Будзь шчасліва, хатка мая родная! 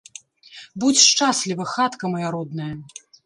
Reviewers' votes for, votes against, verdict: 2, 0, accepted